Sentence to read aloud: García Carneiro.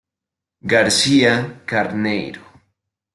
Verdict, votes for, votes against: accepted, 2, 0